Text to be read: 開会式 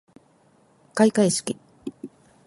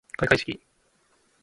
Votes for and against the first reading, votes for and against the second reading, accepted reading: 0, 2, 2, 0, second